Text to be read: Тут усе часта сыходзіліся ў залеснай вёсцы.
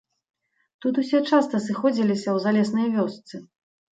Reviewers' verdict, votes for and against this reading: accepted, 2, 0